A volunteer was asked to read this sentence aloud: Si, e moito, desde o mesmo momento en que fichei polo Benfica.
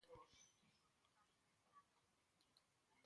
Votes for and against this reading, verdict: 0, 2, rejected